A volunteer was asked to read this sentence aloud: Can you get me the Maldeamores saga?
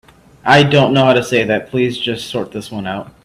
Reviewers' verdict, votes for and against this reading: rejected, 0, 2